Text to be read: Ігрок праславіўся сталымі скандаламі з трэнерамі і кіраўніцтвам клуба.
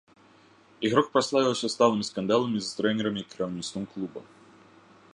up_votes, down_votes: 2, 0